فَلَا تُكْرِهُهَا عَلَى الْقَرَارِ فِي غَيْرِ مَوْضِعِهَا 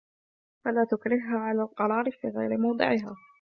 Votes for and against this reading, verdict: 3, 2, accepted